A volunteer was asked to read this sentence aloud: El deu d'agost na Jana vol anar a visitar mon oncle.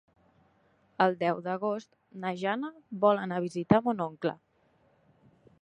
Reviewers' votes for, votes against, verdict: 3, 1, accepted